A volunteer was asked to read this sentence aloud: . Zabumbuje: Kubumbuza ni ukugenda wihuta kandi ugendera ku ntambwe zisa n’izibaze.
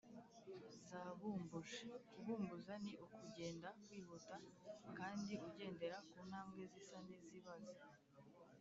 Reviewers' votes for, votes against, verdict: 1, 2, rejected